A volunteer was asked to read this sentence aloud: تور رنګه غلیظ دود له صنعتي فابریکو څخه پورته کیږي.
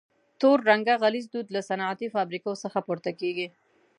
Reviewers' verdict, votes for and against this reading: accepted, 2, 0